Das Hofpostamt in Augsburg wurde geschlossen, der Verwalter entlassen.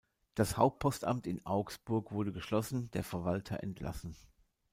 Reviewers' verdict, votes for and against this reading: rejected, 0, 2